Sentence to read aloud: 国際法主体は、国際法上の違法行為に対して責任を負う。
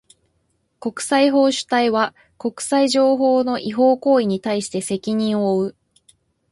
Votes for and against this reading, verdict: 1, 2, rejected